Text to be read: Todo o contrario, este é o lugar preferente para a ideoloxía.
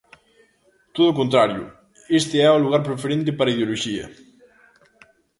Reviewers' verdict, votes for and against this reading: rejected, 0, 2